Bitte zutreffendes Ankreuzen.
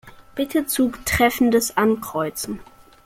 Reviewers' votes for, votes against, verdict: 1, 2, rejected